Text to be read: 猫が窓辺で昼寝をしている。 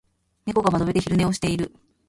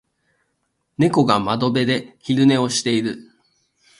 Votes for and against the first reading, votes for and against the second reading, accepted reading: 0, 2, 2, 0, second